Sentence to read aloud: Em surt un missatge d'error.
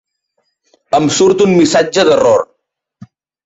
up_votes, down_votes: 4, 0